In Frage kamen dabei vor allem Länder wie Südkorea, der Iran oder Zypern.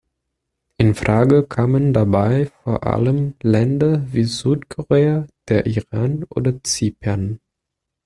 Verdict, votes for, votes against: accepted, 2, 1